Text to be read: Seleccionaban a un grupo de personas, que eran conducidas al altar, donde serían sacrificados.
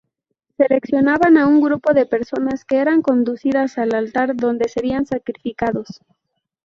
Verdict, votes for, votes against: accepted, 4, 0